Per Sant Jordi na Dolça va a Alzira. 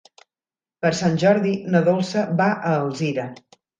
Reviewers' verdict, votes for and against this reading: accepted, 4, 0